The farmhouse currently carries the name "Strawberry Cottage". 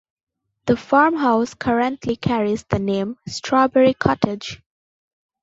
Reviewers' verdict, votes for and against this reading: accepted, 2, 0